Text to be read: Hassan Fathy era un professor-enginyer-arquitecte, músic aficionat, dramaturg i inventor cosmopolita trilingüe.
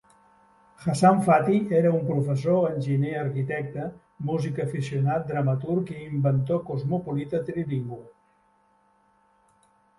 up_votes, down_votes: 1, 2